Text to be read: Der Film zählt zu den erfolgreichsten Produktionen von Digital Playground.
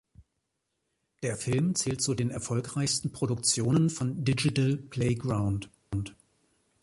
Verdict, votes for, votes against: rejected, 1, 2